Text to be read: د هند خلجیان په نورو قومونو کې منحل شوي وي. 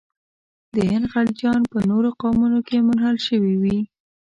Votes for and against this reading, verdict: 1, 2, rejected